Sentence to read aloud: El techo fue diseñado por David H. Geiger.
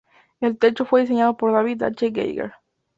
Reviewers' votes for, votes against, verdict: 2, 0, accepted